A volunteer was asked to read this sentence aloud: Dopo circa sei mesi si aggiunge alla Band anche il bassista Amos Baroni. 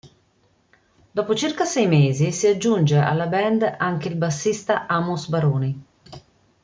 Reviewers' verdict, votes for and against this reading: accepted, 2, 0